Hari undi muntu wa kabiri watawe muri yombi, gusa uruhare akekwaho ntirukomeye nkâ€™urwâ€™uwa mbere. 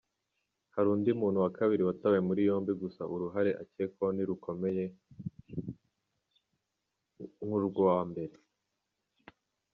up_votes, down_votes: 1, 3